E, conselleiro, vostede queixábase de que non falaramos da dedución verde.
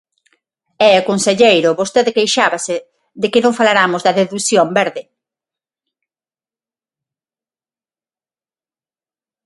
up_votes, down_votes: 6, 0